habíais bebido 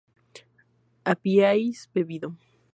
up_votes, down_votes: 8, 0